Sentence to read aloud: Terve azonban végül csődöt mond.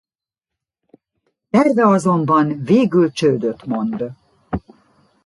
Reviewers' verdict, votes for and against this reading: accepted, 2, 0